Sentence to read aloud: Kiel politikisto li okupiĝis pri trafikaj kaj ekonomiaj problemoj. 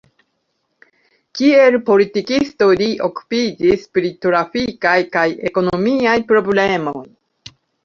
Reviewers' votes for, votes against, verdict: 2, 0, accepted